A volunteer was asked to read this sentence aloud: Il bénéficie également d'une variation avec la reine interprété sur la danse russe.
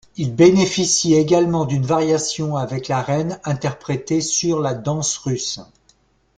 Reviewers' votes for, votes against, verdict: 2, 0, accepted